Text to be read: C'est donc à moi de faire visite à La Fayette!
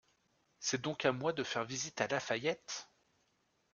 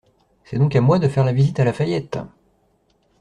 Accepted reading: first